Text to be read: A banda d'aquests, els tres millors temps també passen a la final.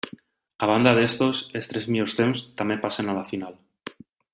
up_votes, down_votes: 0, 2